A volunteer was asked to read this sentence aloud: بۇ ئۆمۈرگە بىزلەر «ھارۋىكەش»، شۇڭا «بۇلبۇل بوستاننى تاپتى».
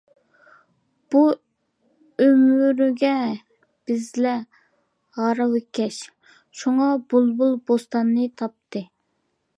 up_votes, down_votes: 2, 1